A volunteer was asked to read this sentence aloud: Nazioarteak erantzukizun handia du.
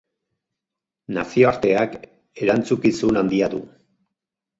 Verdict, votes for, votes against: accepted, 4, 2